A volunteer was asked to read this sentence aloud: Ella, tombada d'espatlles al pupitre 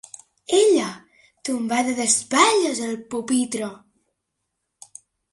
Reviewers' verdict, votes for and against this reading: accepted, 2, 0